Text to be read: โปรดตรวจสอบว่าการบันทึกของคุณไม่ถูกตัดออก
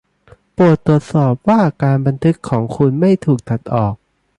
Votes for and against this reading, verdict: 2, 0, accepted